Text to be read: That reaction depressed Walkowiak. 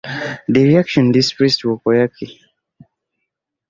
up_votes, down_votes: 2, 1